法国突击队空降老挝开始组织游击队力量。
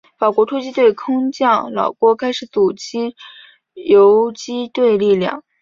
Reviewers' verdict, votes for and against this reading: accepted, 3, 0